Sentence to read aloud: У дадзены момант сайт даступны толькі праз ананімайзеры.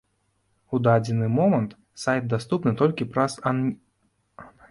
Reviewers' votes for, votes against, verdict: 0, 2, rejected